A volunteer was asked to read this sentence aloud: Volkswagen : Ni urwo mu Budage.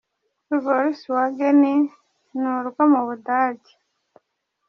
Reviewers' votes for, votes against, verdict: 2, 1, accepted